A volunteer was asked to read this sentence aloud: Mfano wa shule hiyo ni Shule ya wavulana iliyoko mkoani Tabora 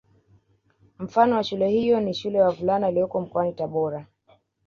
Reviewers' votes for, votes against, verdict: 0, 2, rejected